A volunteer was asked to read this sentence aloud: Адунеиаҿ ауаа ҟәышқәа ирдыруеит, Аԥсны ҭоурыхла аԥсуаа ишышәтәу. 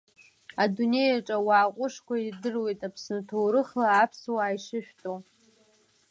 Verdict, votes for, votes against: accepted, 3, 0